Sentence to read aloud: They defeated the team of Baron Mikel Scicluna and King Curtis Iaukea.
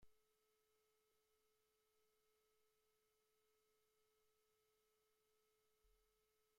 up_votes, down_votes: 0, 2